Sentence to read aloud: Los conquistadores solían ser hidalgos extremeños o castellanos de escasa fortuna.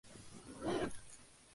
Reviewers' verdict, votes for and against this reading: rejected, 0, 2